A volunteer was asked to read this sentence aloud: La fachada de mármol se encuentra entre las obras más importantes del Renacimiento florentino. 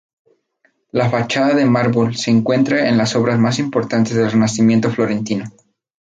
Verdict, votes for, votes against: rejected, 0, 2